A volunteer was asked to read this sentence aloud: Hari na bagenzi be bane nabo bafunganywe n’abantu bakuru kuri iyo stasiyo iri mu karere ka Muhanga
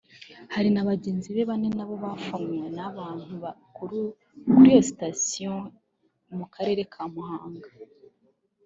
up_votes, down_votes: 0, 2